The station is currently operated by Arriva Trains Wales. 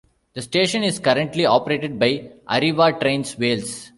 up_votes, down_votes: 2, 0